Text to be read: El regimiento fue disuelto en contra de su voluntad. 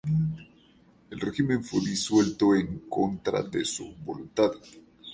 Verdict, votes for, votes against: rejected, 0, 2